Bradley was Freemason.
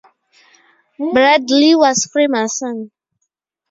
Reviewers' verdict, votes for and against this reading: rejected, 0, 2